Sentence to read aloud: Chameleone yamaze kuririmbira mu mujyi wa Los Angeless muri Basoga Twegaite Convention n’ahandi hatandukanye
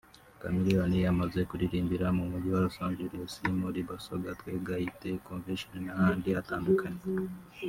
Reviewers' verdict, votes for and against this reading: accepted, 3, 1